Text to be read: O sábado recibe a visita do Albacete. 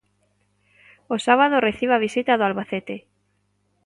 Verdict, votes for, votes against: accepted, 2, 0